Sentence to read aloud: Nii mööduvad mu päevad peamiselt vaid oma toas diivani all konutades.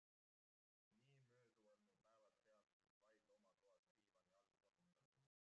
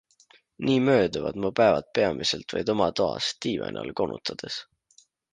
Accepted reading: second